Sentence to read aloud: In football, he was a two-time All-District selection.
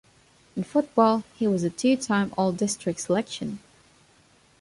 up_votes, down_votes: 2, 0